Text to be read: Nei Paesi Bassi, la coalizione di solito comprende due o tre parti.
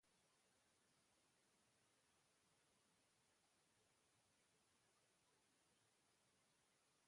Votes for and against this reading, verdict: 0, 2, rejected